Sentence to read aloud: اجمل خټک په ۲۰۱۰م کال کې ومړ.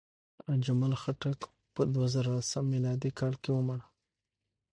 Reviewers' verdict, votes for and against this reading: rejected, 0, 2